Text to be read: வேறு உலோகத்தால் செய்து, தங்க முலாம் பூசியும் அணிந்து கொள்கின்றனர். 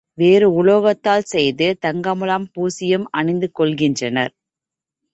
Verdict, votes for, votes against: accepted, 3, 0